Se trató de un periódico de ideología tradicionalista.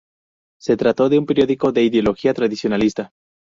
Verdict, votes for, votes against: accepted, 2, 0